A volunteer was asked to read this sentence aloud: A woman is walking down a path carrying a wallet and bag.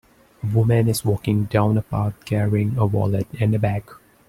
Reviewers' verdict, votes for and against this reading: rejected, 0, 2